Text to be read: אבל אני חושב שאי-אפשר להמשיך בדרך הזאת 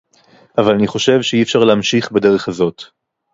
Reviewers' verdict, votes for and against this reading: accepted, 2, 0